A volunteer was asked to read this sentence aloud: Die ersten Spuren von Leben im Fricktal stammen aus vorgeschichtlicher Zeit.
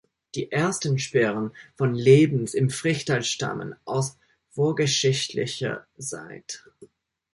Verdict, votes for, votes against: rejected, 0, 2